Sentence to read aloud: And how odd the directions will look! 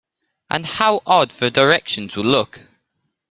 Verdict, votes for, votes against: rejected, 1, 2